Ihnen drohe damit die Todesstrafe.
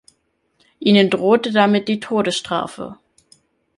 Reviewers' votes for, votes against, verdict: 1, 3, rejected